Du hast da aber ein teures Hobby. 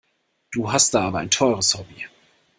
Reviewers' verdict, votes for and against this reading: accepted, 2, 0